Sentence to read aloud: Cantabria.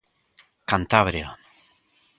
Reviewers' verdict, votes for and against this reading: accepted, 2, 0